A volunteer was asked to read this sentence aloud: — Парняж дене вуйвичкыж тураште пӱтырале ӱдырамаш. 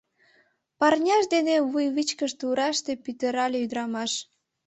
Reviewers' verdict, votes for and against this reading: accepted, 2, 0